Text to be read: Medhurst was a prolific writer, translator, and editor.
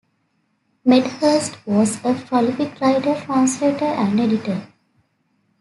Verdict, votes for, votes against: accepted, 2, 0